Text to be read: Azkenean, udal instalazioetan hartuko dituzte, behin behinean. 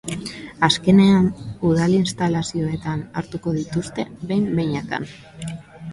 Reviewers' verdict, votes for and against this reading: rejected, 0, 2